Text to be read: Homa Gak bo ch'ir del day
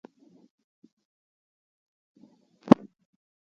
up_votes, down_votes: 0, 2